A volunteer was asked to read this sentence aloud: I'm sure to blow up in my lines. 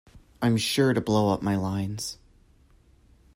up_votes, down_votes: 0, 2